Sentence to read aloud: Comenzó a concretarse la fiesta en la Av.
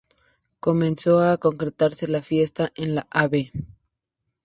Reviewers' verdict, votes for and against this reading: accepted, 2, 0